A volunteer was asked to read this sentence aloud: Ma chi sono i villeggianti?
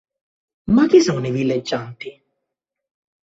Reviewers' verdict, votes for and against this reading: accepted, 2, 0